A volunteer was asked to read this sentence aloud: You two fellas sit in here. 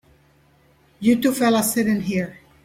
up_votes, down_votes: 3, 0